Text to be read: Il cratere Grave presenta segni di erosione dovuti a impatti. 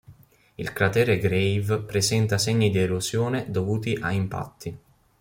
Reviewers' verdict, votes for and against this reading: accepted, 2, 0